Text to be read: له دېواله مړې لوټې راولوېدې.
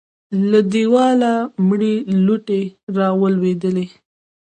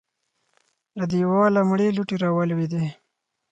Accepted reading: second